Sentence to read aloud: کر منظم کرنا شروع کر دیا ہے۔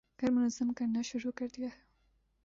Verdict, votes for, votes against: rejected, 1, 2